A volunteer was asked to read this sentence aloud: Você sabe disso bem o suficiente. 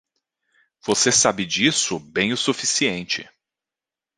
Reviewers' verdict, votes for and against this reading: accepted, 2, 0